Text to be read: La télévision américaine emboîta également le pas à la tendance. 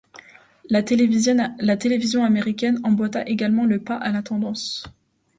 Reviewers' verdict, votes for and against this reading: rejected, 0, 2